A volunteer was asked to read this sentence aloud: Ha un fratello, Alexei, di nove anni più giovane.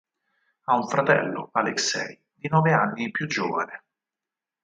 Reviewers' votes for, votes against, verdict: 4, 2, accepted